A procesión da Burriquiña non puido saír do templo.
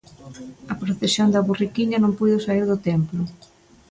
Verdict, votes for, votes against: accepted, 2, 0